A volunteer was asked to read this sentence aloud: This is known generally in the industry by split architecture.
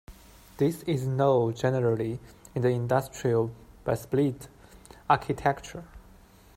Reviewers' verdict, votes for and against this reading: rejected, 1, 2